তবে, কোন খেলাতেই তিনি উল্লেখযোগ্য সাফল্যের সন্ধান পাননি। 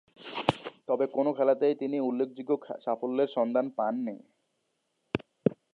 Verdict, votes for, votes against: rejected, 1, 2